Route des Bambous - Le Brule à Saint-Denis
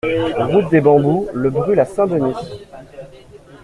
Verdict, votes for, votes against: accepted, 3, 0